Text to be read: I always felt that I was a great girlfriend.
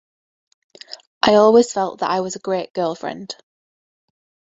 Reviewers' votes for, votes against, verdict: 2, 0, accepted